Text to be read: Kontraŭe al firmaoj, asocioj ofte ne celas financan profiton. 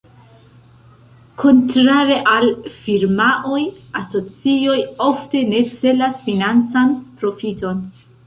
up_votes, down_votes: 1, 2